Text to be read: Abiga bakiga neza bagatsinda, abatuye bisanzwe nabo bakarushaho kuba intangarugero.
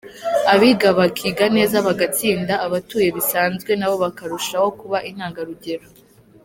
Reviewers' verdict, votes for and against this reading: accepted, 3, 0